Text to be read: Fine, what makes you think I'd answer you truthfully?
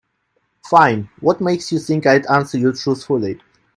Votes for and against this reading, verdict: 2, 0, accepted